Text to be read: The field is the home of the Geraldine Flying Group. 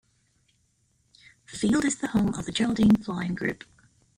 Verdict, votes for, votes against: accepted, 2, 1